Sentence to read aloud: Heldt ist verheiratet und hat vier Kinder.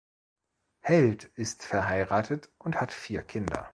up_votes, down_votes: 2, 0